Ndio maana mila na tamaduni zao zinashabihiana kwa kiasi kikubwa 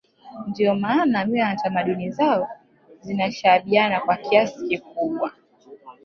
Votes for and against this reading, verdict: 2, 0, accepted